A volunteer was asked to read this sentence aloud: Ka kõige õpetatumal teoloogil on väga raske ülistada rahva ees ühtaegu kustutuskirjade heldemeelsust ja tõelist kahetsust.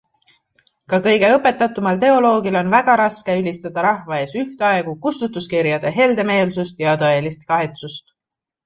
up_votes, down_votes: 2, 0